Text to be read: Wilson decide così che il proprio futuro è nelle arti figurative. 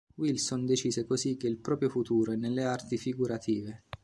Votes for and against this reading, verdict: 2, 0, accepted